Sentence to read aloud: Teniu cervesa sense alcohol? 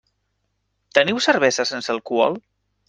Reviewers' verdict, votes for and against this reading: accepted, 3, 0